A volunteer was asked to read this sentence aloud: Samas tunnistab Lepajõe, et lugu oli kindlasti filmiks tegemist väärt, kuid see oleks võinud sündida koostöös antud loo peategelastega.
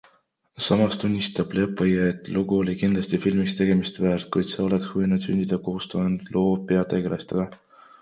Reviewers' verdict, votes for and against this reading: rejected, 1, 2